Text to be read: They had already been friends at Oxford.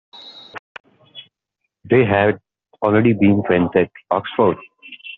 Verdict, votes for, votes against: accepted, 2, 0